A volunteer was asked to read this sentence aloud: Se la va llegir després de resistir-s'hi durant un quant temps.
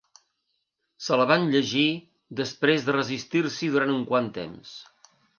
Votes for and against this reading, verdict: 1, 2, rejected